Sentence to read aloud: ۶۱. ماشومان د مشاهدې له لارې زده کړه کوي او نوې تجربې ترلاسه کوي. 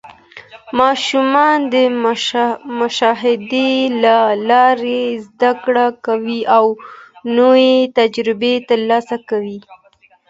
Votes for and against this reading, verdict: 0, 2, rejected